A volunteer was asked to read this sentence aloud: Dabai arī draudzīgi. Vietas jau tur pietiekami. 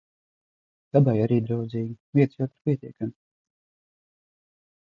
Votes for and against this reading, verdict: 0, 2, rejected